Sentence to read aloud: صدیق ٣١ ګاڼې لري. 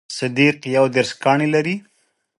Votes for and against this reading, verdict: 0, 2, rejected